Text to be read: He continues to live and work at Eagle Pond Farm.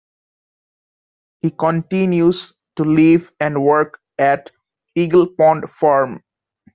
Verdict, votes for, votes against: rejected, 1, 2